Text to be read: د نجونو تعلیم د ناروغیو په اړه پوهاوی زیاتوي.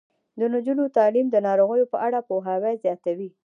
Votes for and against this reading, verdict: 1, 2, rejected